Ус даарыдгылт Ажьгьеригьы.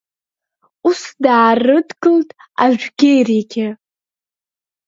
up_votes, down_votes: 0, 2